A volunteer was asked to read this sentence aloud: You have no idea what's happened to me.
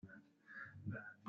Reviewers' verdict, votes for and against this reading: rejected, 0, 2